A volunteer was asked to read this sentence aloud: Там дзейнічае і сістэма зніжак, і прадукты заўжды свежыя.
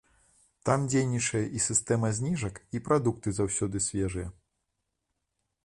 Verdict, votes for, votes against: rejected, 0, 2